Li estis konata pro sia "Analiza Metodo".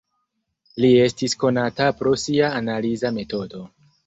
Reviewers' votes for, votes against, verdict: 0, 2, rejected